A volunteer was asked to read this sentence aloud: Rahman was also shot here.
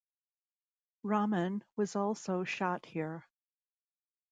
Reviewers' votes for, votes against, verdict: 2, 0, accepted